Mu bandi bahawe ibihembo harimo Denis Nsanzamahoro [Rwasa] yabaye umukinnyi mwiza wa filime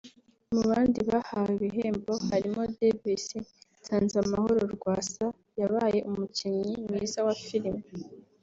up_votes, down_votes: 2, 0